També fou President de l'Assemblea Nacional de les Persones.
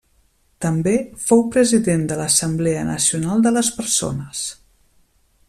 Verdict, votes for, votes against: accepted, 3, 0